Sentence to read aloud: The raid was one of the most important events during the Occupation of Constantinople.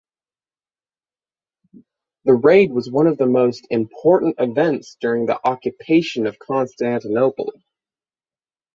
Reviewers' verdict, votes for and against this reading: accepted, 6, 0